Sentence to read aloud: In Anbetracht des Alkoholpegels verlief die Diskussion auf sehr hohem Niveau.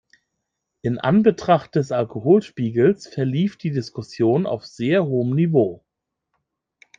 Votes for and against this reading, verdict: 0, 2, rejected